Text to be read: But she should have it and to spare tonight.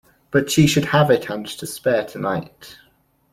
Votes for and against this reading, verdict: 2, 0, accepted